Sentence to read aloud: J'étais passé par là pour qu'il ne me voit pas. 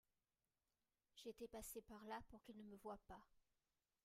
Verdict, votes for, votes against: rejected, 1, 2